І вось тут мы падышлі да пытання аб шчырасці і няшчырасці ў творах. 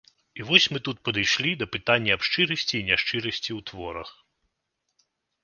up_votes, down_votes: 1, 2